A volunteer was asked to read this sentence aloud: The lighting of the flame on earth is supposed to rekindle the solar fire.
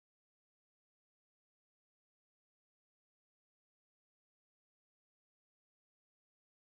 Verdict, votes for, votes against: rejected, 0, 2